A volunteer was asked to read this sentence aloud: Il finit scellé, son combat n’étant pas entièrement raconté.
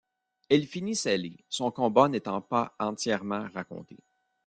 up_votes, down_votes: 0, 2